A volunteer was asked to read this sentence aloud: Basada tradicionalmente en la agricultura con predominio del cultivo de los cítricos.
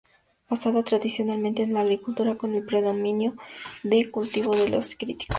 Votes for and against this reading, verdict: 0, 4, rejected